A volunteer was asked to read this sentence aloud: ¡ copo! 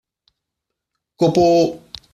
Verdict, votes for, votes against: accepted, 2, 0